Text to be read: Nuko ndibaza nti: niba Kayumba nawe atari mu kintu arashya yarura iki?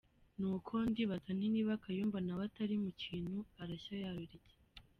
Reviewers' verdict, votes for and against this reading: rejected, 1, 2